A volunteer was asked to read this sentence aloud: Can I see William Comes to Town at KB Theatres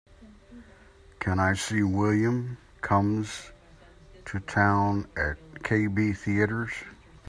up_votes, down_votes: 3, 0